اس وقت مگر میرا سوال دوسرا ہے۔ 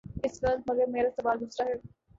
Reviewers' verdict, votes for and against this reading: rejected, 1, 2